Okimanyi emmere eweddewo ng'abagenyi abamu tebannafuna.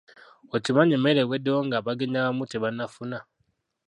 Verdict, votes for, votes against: rejected, 0, 2